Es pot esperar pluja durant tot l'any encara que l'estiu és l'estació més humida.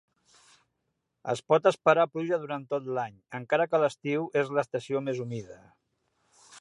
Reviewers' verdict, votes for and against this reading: accepted, 3, 0